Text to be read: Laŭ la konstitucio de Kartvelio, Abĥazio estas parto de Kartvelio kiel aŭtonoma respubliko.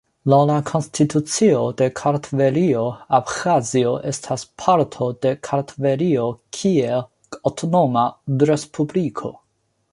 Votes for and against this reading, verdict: 2, 0, accepted